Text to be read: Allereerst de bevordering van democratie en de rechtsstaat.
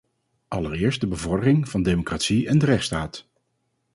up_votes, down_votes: 4, 0